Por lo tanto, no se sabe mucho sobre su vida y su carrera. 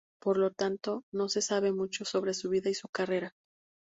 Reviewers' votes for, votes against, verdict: 2, 0, accepted